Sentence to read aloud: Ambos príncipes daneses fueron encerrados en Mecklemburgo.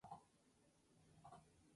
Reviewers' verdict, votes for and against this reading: rejected, 0, 2